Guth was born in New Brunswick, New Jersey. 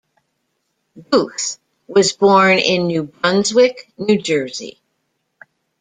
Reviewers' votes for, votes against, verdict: 0, 2, rejected